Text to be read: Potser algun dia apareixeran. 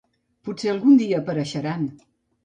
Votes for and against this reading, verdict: 2, 0, accepted